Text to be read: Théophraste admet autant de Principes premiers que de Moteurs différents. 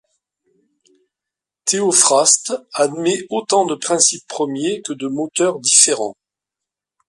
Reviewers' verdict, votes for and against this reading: accepted, 2, 0